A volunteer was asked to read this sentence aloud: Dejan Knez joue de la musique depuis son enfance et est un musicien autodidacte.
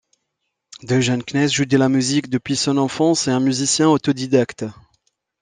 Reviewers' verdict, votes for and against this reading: rejected, 0, 2